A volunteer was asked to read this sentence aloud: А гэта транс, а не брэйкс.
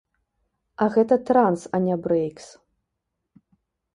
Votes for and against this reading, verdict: 2, 0, accepted